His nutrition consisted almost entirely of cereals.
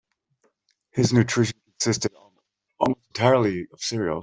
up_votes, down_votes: 0, 2